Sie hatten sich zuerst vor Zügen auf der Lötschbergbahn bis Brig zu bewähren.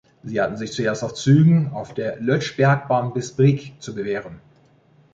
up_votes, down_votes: 1, 2